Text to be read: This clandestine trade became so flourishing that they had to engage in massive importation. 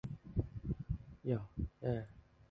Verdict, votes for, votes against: rejected, 0, 2